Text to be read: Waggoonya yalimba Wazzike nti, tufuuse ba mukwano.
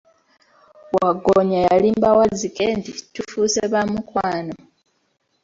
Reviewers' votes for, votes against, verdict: 2, 0, accepted